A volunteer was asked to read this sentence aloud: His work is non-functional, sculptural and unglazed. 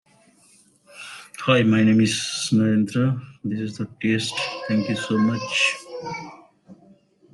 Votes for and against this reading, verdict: 0, 2, rejected